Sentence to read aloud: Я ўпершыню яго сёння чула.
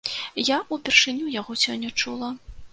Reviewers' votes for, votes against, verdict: 2, 0, accepted